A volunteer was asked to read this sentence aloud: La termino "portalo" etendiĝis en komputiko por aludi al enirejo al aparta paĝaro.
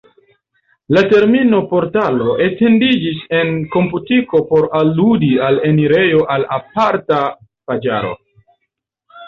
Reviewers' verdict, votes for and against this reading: accepted, 2, 0